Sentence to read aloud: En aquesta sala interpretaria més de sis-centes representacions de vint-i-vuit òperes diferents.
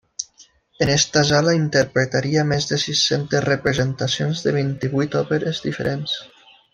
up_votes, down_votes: 0, 2